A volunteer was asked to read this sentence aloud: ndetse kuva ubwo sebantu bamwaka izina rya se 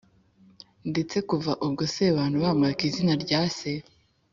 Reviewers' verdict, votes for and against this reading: accepted, 2, 0